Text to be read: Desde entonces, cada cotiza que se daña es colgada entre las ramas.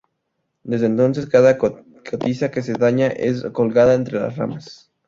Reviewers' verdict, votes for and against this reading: rejected, 2, 2